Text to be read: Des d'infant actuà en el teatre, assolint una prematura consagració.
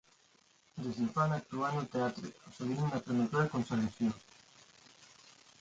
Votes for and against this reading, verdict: 1, 2, rejected